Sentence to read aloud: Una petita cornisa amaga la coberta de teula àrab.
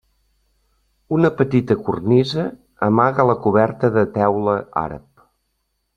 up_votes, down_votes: 3, 0